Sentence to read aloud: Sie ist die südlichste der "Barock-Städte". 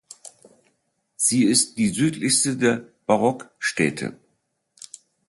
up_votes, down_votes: 2, 0